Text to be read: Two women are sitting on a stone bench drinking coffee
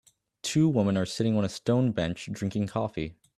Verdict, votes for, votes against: rejected, 1, 2